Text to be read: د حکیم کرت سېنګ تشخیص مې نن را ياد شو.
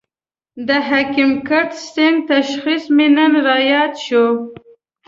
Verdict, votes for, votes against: accepted, 2, 0